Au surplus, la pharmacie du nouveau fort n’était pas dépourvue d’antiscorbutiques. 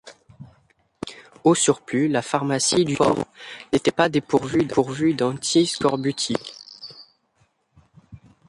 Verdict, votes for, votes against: rejected, 0, 2